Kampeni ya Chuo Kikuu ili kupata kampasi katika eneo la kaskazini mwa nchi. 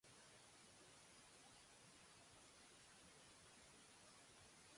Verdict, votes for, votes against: rejected, 1, 2